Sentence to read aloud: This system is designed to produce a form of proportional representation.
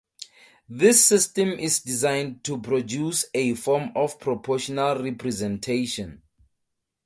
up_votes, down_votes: 2, 0